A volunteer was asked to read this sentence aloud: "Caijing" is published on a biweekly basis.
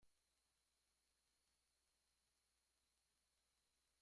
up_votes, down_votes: 1, 2